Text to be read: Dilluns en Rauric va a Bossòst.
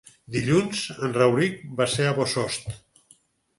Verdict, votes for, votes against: rejected, 0, 4